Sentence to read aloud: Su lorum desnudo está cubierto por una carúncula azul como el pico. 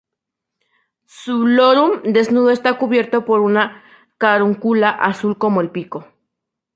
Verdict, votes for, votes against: rejected, 0, 2